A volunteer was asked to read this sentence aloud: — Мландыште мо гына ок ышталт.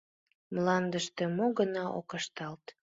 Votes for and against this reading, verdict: 2, 0, accepted